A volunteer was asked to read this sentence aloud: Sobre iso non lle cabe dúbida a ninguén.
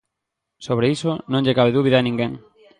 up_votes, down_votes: 2, 0